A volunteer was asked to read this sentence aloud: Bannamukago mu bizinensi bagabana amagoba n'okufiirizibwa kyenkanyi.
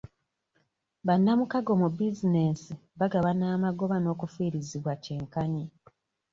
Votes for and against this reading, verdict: 2, 0, accepted